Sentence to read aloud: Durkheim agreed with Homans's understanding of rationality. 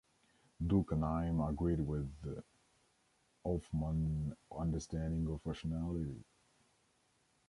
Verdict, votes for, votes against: rejected, 1, 2